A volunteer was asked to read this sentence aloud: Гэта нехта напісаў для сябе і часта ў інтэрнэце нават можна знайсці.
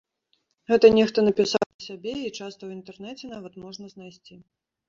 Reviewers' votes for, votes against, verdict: 0, 2, rejected